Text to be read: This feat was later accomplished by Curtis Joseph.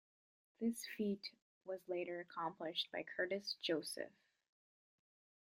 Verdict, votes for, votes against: accepted, 2, 0